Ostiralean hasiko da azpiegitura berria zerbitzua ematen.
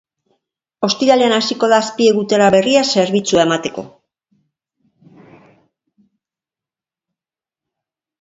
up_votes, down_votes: 0, 2